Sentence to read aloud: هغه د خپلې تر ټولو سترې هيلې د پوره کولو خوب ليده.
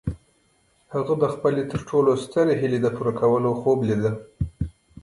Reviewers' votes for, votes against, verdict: 1, 2, rejected